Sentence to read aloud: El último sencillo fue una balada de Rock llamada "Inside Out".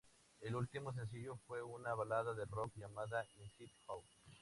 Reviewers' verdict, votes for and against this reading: rejected, 0, 2